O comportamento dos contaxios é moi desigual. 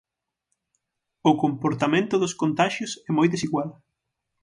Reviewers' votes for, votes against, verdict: 6, 0, accepted